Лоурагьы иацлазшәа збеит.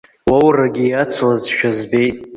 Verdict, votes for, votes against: accepted, 2, 0